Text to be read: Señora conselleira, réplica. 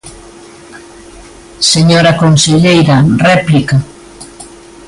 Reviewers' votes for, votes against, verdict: 2, 0, accepted